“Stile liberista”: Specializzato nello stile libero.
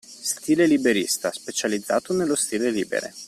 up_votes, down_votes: 0, 2